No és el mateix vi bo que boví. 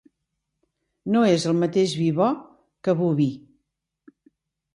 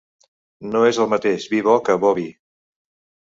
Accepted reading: first